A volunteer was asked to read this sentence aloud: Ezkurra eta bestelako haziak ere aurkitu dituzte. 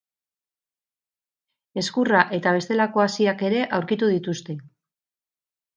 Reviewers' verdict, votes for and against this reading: accepted, 6, 0